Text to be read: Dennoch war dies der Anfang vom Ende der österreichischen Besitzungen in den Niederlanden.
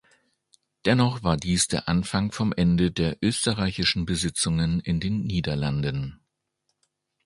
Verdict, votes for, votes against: accepted, 2, 0